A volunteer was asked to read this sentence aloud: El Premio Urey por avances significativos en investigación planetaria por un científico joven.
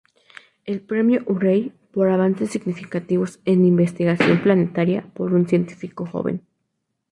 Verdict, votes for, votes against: accepted, 2, 0